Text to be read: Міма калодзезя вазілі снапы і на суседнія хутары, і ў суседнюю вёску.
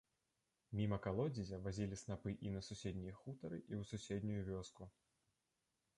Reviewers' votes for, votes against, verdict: 1, 2, rejected